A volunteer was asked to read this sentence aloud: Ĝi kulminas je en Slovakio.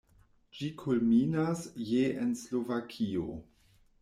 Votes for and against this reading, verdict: 2, 0, accepted